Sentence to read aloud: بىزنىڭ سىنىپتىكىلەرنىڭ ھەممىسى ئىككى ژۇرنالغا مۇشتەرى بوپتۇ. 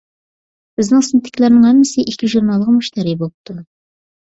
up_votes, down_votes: 2, 0